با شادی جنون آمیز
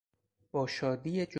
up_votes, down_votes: 0, 4